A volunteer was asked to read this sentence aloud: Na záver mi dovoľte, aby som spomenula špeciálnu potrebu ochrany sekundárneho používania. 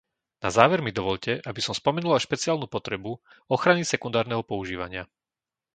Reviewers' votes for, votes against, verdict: 2, 0, accepted